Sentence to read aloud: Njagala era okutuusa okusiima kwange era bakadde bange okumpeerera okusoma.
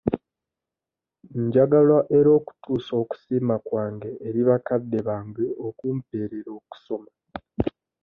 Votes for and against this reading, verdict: 2, 1, accepted